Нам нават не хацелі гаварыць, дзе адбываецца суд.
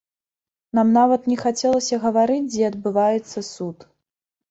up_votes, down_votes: 0, 2